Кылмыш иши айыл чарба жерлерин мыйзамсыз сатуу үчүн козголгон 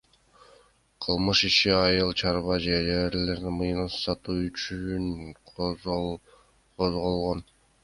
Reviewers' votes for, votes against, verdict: 1, 2, rejected